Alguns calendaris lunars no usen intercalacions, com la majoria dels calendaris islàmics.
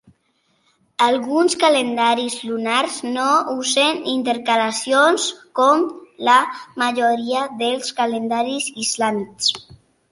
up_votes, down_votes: 2, 0